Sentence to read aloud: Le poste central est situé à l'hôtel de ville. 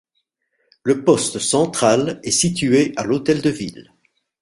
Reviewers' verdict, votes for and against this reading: accepted, 2, 0